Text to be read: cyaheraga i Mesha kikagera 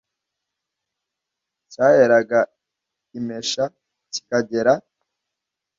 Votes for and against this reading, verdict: 2, 0, accepted